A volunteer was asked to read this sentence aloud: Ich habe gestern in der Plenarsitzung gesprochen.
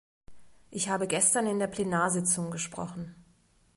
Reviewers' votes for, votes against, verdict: 2, 0, accepted